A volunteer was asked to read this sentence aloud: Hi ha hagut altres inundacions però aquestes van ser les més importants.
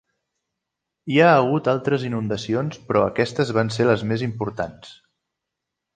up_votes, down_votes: 3, 0